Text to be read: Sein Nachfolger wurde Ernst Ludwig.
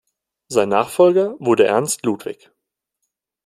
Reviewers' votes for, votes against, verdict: 2, 0, accepted